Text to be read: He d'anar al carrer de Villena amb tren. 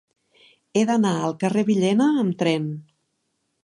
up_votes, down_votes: 0, 2